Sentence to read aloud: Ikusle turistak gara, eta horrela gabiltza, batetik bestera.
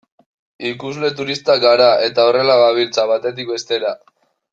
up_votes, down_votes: 0, 2